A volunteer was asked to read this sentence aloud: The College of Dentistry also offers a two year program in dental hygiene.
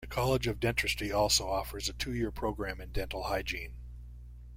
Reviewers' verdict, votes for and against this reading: accepted, 2, 0